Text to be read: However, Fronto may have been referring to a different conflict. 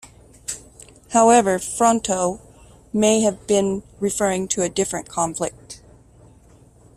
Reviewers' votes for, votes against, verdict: 2, 1, accepted